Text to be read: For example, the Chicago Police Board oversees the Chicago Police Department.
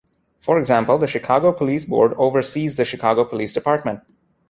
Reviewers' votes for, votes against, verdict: 2, 0, accepted